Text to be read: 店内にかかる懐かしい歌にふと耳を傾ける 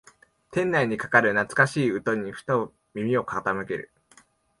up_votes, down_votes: 2, 0